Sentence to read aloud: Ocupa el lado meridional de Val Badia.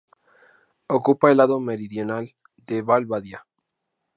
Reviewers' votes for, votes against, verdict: 2, 0, accepted